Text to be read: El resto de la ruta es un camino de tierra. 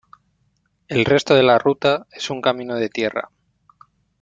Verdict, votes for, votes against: accepted, 2, 1